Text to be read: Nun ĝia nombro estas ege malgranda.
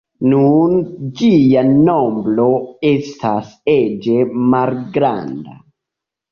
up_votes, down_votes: 0, 2